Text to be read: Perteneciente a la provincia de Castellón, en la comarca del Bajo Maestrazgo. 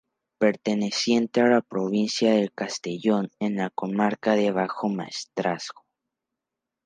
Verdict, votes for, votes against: accepted, 2, 0